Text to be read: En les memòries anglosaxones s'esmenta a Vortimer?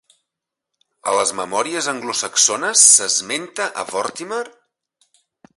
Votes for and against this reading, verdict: 1, 2, rejected